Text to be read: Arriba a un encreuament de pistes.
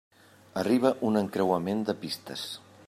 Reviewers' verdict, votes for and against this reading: rejected, 0, 2